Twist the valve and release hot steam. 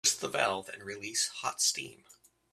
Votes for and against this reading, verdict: 1, 2, rejected